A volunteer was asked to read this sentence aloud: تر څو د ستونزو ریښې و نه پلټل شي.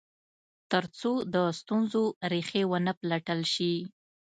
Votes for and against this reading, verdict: 2, 0, accepted